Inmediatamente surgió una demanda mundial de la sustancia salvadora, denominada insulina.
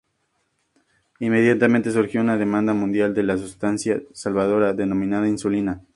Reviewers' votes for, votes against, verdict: 2, 0, accepted